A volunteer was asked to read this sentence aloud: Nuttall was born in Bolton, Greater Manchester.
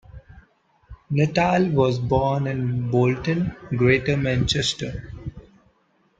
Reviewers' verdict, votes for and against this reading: rejected, 0, 2